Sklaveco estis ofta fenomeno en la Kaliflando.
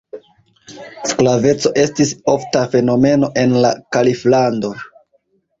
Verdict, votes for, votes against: accepted, 2, 0